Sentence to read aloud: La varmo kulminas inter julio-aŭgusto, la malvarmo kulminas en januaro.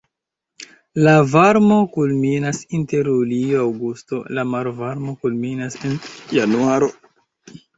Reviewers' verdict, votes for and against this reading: accepted, 2, 1